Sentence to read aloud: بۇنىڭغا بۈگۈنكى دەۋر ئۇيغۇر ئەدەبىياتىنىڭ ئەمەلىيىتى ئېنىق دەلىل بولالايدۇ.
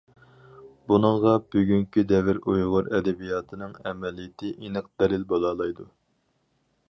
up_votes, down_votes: 4, 0